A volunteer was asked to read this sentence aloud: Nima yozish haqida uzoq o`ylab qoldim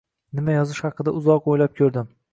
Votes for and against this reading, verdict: 0, 2, rejected